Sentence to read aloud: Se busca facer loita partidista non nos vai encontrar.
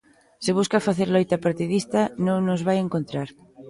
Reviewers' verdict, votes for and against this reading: accepted, 2, 0